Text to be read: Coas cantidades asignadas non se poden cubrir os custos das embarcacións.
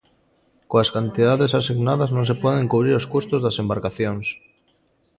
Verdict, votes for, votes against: accepted, 2, 0